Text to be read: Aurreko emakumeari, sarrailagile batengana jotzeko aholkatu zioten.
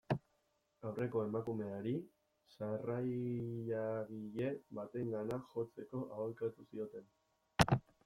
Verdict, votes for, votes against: rejected, 1, 2